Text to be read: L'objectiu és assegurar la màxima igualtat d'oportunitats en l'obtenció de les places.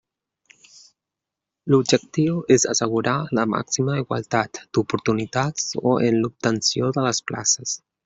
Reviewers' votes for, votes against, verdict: 0, 2, rejected